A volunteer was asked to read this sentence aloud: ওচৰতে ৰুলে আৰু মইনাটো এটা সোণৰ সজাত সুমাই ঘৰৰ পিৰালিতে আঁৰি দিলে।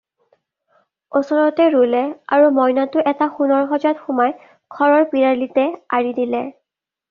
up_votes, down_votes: 2, 0